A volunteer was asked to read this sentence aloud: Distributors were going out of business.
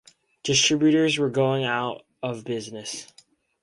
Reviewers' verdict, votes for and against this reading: accepted, 4, 0